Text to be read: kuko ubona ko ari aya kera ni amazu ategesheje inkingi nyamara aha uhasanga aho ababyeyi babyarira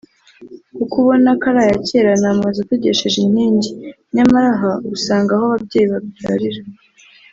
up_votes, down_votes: 0, 2